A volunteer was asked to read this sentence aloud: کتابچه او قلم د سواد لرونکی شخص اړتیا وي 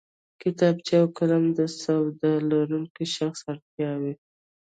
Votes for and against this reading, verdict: 2, 0, accepted